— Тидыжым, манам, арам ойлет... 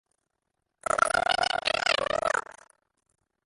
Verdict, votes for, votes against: rejected, 0, 2